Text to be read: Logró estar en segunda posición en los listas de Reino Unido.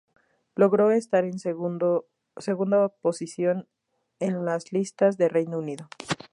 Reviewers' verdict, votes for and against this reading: rejected, 0, 2